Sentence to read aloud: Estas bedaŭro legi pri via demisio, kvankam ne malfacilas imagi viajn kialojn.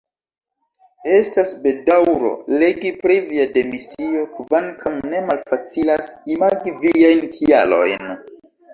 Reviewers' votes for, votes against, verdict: 0, 2, rejected